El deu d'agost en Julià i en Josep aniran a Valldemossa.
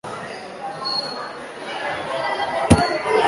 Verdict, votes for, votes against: rejected, 0, 3